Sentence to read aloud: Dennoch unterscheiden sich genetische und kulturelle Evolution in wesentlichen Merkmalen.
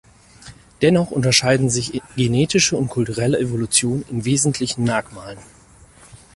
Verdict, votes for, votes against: rejected, 2, 4